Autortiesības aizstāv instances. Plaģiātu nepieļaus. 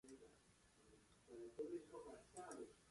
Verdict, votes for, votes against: rejected, 0, 2